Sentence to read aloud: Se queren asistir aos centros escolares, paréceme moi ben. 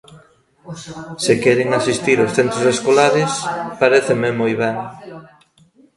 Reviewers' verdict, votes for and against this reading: rejected, 1, 2